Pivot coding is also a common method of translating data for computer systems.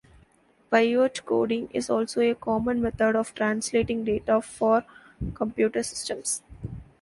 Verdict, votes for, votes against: rejected, 1, 2